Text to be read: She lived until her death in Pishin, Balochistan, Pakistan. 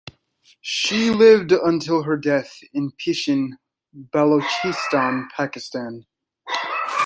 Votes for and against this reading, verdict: 2, 0, accepted